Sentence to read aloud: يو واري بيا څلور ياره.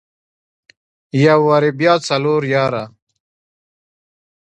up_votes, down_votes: 2, 0